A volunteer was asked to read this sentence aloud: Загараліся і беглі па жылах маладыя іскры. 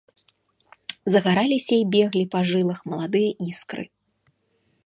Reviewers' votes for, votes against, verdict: 2, 0, accepted